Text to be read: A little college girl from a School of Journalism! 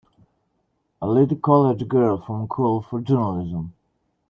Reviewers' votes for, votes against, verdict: 0, 2, rejected